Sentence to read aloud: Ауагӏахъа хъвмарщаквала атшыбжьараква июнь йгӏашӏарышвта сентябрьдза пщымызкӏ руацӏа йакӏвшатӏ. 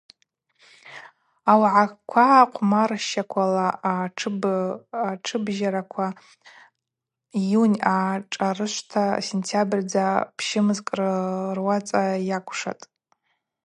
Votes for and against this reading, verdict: 0, 4, rejected